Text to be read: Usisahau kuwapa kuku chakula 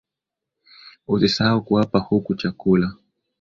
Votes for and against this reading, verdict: 10, 0, accepted